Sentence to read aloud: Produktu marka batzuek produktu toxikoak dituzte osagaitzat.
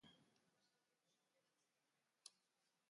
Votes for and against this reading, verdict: 0, 2, rejected